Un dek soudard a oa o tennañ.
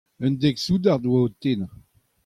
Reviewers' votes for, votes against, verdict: 2, 0, accepted